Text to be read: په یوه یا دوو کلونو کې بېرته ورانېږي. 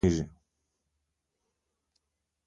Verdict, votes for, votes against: rejected, 0, 2